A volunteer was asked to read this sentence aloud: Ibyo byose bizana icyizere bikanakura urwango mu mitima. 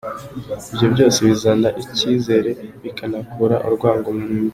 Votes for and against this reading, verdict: 1, 2, rejected